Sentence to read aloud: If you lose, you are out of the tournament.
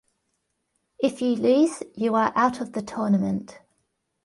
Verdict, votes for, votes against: accepted, 2, 0